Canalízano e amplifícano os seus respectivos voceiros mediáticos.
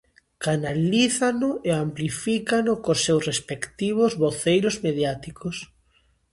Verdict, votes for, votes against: rejected, 1, 2